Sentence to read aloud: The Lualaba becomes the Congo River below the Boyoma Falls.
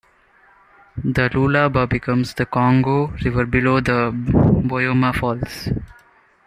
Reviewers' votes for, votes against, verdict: 2, 0, accepted